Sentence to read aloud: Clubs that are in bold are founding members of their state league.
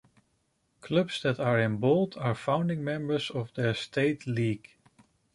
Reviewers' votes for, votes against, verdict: 2, 0, accepted